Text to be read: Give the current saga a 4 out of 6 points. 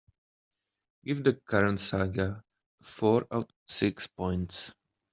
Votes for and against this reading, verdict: 0, 2, rejected